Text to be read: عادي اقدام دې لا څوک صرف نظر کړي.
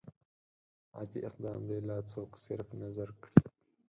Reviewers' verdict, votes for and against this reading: rejected, 0, 4